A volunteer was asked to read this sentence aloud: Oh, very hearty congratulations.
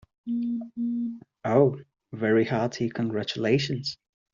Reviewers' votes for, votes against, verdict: 2, 0, accepted